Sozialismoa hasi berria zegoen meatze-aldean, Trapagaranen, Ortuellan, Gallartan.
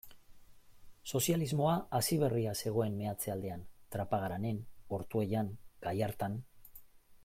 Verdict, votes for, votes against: accepted, 2, 0